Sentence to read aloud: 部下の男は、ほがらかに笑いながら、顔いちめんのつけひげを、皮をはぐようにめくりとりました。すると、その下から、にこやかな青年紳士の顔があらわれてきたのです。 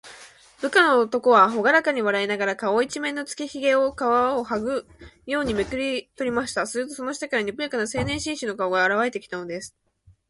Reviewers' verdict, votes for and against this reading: rejected, 0, 2